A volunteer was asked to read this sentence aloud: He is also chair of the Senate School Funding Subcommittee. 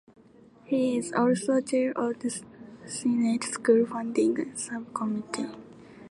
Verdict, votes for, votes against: accepted, 3, 1